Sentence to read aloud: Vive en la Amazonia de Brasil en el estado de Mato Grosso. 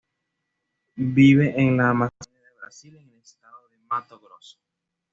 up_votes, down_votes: 1, 2